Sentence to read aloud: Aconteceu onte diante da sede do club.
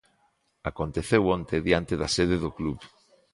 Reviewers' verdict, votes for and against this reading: accepted, 2, 0